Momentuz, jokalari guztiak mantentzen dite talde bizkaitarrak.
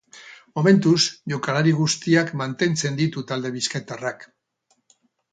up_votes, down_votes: 2, 2